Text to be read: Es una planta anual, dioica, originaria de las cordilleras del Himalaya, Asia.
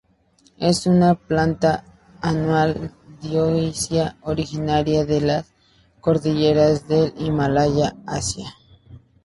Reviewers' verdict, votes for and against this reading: rejected, 2, 2